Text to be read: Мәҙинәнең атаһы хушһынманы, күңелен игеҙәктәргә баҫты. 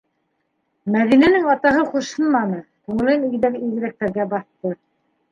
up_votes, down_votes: 1, 2